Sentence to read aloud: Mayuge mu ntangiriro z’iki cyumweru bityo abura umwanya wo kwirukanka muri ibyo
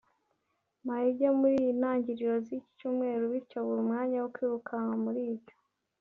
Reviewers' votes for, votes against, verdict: 2, 0, accepted